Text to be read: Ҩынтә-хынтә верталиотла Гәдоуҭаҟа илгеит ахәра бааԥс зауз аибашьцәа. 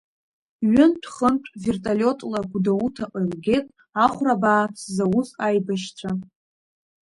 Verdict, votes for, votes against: rejected, 0, 2